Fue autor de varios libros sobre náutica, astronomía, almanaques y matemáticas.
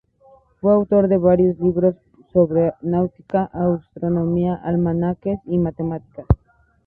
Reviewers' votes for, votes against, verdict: 0, 2, rejected